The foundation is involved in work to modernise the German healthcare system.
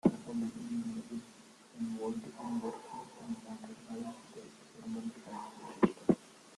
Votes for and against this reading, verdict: 0, 2, rejected